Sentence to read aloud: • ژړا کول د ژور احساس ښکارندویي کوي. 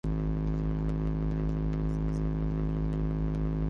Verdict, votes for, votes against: rejected, 0, 5